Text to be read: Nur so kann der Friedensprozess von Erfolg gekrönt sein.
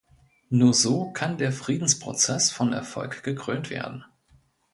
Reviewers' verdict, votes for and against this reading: rejected, 0, 2